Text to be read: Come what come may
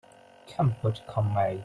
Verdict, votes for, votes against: accepted, 2, 0